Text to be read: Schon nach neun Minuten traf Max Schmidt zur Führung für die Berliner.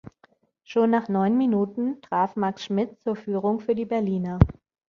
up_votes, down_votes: 2, 0